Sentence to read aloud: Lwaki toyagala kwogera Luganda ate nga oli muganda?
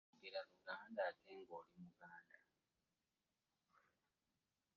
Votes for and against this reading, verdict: 0, 2, rejected